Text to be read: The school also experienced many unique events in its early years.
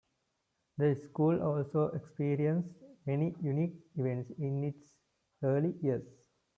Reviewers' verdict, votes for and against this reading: accepted, 2, 1